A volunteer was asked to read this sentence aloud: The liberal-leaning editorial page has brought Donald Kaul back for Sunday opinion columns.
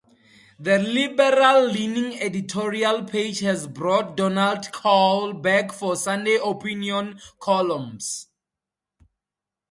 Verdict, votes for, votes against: accepted, 4, 0